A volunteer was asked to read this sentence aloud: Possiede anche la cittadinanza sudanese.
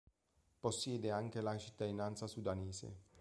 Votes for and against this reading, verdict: 2, 1, accepted